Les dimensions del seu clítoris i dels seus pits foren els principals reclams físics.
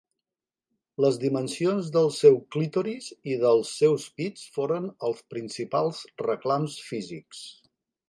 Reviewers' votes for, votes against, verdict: 4, 0, accepted